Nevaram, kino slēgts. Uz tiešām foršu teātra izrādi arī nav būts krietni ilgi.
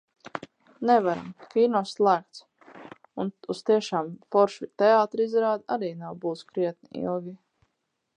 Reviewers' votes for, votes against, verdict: 0, 4, rejected